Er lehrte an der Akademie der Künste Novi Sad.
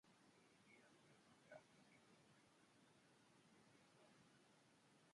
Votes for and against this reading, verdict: 0, 2, rejected